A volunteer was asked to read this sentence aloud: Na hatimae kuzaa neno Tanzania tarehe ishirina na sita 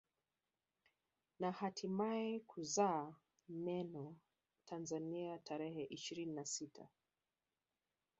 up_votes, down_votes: 3, 1